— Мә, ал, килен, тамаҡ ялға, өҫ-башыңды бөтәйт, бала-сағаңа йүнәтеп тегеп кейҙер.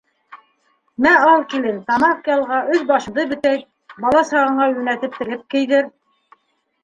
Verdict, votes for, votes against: accepted, 3, 1